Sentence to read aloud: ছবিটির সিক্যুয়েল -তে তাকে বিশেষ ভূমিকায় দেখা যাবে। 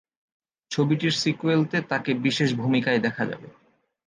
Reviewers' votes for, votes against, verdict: 2, 0, accepted